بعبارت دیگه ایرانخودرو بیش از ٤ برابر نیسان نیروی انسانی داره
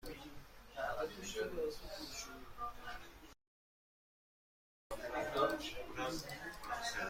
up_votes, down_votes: 0, 2